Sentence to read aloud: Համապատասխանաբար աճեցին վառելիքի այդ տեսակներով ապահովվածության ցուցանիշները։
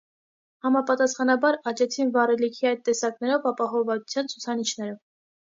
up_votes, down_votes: 2, 0